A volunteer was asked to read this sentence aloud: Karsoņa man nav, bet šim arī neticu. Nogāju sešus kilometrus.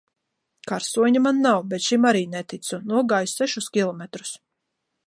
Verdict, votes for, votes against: accepted, 2, 0